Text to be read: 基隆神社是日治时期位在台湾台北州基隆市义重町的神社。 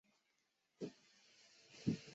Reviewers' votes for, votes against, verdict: 0, 2, rejected